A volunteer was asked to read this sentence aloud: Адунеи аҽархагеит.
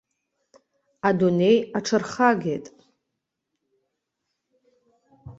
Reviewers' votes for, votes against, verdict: 3, 0, accepted